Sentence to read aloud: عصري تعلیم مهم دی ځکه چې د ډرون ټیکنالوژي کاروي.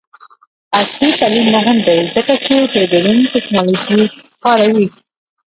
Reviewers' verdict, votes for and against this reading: rejected, 1, 2